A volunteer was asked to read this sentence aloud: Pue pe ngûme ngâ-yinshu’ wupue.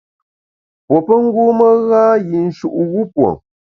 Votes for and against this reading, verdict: 0, 2, rejected